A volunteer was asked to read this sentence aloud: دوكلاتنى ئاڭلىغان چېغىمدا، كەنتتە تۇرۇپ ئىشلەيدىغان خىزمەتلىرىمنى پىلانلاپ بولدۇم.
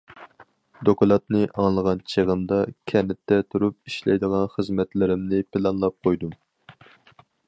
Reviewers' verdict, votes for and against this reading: rejected, 0, 4